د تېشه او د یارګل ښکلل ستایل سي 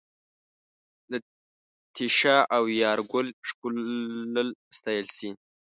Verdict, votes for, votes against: rejected, 1, 2